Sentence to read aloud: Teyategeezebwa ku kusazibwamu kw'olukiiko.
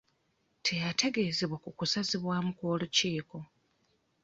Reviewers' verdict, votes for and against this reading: accepted, 2, 0